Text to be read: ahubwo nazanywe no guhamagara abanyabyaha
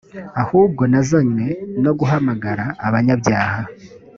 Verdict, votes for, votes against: accepted, 2, 0